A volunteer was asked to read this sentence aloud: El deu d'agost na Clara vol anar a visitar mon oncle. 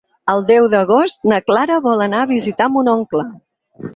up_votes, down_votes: 8, 0